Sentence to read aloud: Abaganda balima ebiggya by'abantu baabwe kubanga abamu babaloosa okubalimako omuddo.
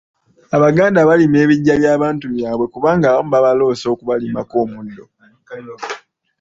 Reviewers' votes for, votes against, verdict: 1, 3, rejected